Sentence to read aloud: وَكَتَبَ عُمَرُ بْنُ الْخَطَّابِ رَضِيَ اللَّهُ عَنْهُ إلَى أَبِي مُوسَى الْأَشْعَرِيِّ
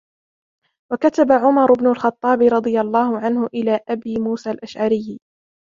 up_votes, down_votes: 2, 0